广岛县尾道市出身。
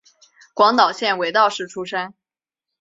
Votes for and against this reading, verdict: 2, 0, accepted